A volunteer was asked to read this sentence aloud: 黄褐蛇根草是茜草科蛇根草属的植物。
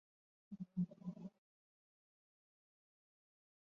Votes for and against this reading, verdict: 0, 2, rejected